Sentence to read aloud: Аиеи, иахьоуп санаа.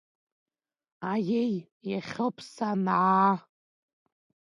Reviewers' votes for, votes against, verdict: 2, 0, accepted